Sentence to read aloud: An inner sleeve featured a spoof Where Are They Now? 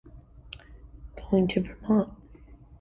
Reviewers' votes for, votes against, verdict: 0, 2, rejected